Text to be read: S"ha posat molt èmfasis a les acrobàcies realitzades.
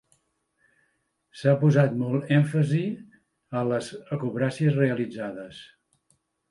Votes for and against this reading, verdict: 1, 2, rejected